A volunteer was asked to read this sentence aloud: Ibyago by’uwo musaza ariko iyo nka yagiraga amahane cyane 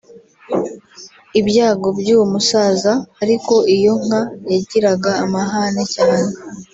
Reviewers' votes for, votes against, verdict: 2, 0, accepted